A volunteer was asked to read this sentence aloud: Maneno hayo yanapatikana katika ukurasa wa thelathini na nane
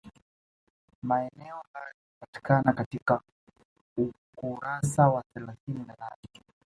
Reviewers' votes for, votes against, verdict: 1, 2, rejected